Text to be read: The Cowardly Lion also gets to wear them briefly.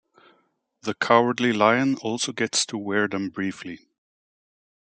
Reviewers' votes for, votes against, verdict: 2, 0, accepted